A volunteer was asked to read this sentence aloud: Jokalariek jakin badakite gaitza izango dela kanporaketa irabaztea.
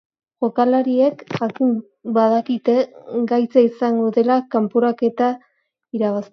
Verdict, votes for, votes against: rejected, 0, 2